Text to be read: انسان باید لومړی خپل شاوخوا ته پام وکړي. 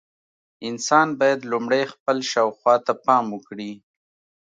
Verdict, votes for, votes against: accepted, 2, 0